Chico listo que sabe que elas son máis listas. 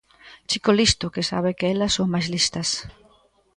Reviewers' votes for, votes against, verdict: 2, 0, accepted